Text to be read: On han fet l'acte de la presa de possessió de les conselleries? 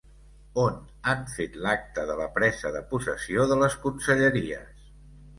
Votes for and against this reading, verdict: 2, 1, accepted